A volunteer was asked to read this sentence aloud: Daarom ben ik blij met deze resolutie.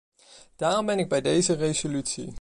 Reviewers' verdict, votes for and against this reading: rejected, 0, 2